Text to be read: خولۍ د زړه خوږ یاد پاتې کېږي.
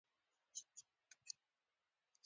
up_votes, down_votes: 1, 2